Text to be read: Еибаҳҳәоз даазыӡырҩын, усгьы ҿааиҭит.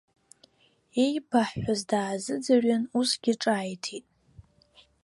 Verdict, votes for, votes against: accepted, 2, 0